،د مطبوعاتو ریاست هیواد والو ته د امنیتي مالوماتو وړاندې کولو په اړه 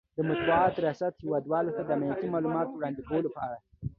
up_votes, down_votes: 2, 0